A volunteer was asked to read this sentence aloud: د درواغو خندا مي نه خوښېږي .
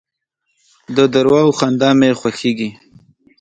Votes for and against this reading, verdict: 1, 2, rejected